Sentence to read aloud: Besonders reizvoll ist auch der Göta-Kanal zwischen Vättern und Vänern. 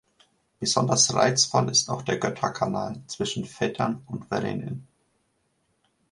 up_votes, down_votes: 0, 2